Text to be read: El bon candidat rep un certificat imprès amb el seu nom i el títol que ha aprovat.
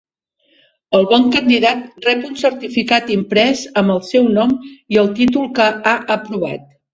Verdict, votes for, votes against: accepted, 5, 0